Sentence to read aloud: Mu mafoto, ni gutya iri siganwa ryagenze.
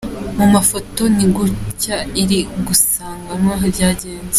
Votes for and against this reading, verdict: 0, 2, rejected